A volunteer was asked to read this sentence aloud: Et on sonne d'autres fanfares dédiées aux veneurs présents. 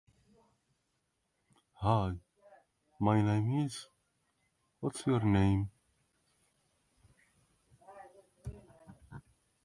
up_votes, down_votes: 0, 2